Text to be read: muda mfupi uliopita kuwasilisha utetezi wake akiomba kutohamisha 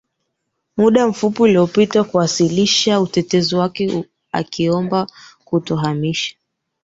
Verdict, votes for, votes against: rejected, 2, 3